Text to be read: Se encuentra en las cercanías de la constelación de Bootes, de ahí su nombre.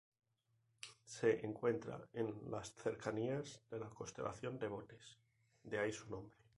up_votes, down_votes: 2, 0